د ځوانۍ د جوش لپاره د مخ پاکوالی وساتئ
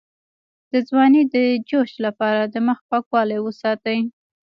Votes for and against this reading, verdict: 1, 2, rejected